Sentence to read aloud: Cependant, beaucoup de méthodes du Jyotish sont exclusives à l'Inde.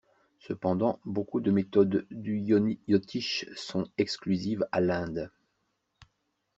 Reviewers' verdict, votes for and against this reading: rejected, 1, 2